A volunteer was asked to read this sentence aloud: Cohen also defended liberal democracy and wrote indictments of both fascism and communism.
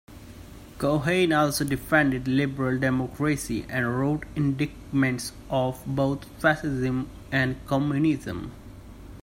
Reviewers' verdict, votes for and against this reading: rejected, 1, 2